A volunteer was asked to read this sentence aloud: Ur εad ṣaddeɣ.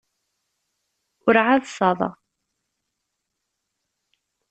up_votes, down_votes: 0, 2